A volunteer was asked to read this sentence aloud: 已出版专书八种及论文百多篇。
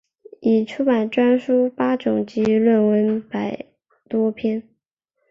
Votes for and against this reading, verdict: 5, 2, accepted